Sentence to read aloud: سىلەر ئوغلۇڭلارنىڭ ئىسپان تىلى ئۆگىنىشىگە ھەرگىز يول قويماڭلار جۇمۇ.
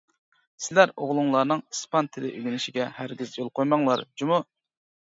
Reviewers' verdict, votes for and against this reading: accepted, 2, 0